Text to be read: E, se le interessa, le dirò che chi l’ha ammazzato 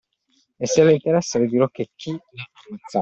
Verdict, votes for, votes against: rejected, 0, 2